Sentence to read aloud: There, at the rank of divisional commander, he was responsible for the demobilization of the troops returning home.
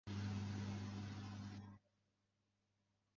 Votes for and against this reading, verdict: 0, 2, rejected